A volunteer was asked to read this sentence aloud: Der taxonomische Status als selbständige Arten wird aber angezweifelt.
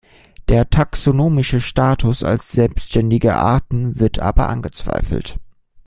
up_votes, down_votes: 2, 0